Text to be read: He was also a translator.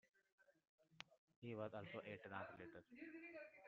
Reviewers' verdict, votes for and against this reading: rejected, 1, 2